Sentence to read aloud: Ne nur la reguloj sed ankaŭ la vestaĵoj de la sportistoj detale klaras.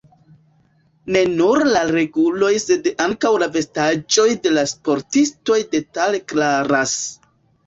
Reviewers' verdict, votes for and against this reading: accepted, 2, 1